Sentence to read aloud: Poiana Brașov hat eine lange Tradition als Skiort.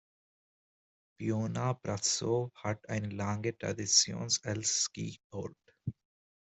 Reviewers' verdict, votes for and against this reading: rejected, 1, 2